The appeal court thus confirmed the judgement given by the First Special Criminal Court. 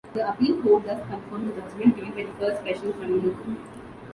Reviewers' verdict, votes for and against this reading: accepted, 2, 0